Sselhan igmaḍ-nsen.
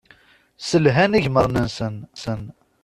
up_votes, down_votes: 1, 2